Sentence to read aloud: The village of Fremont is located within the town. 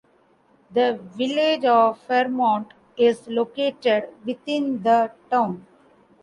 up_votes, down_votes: 2, 0